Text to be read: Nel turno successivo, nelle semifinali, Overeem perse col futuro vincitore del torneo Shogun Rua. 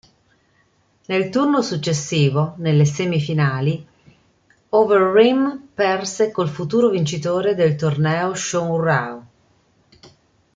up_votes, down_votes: 1, 2